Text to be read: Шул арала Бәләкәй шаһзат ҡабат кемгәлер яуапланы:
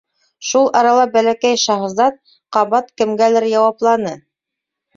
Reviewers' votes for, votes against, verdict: 2, 0, accepted